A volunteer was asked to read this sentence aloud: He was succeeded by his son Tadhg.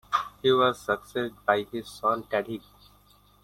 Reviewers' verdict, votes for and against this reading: rejected, 1, 2